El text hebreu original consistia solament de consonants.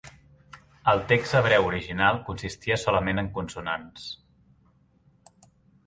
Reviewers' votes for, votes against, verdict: 1, 2, rejected